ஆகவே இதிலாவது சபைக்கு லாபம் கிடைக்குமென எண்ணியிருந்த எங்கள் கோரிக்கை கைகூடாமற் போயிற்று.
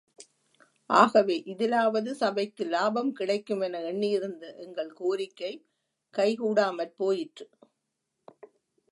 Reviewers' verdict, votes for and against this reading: accepted, 2, 0